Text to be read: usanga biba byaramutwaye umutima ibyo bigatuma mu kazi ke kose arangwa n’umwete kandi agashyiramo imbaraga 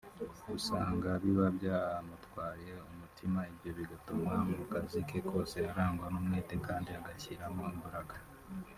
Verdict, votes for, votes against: rejected, 1, 2